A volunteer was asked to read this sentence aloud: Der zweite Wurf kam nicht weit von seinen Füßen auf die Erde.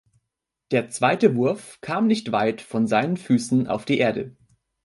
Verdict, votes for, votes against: accepted, 2, 0